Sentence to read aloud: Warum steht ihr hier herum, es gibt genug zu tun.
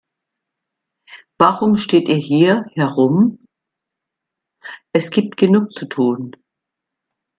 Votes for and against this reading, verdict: 1, 2, rejected